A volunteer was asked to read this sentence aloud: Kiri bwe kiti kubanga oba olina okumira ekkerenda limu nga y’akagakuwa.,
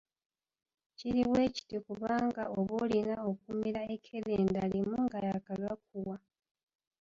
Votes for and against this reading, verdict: 0, 2, rejected